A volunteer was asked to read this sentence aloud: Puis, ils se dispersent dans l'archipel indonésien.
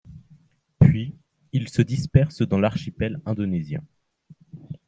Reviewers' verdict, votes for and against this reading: accepted, 2, 0